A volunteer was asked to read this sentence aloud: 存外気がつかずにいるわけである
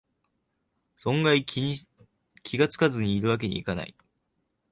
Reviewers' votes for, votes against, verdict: 0, 2, rejected